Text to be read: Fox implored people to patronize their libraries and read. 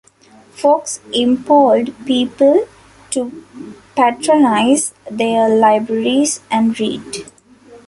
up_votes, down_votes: 3, 2